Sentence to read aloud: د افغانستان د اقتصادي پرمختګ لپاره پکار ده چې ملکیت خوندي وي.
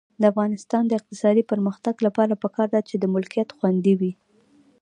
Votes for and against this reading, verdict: 0, 2, rejected